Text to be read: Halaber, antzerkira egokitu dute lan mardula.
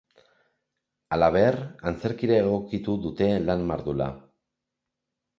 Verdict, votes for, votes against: accepted, 2, 0